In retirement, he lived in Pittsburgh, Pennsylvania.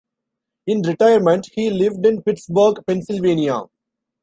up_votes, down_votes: 2, 0